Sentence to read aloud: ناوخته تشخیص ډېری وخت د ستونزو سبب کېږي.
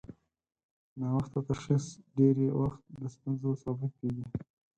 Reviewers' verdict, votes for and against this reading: accepted, 4, 0